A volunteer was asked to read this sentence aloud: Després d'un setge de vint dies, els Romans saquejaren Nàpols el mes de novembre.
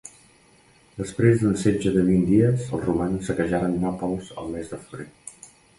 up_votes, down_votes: 0, 2